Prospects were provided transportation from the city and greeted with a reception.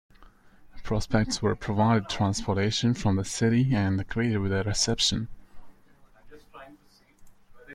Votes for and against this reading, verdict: 2, 1, accepted